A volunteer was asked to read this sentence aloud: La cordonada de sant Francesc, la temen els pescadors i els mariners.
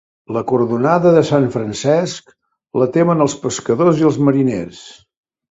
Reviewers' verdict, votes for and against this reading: accepted, 4, 0